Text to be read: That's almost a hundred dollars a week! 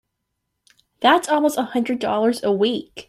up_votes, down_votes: 2, 0